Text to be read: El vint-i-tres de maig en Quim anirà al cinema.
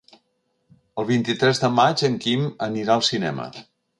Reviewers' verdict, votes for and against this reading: accepted, 4, 0